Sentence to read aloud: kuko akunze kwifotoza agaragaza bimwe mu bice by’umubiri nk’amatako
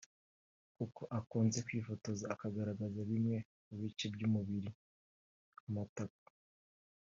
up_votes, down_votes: 2, 0